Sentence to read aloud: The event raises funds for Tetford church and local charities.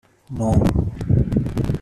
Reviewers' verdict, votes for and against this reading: rejected, 0, 2